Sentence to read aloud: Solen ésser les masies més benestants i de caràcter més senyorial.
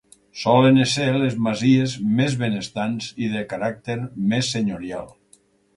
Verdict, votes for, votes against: accepted, 4, 0